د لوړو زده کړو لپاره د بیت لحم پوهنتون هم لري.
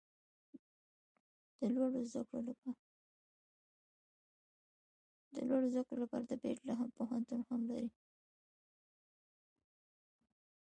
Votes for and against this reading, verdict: 1, 2, rejected